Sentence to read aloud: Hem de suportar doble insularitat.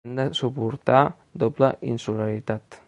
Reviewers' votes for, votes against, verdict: 1, 2, rejected